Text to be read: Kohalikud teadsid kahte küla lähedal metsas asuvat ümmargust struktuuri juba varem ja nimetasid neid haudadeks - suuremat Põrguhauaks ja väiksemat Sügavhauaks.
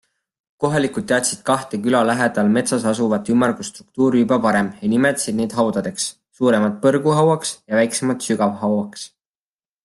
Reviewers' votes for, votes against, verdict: 2, 0, accepted